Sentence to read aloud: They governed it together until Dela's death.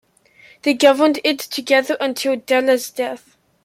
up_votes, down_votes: 2, 0